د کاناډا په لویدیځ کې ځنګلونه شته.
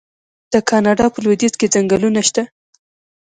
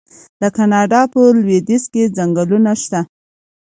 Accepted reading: second